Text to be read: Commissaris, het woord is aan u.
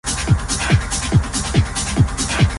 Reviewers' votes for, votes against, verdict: 0, 2, rejected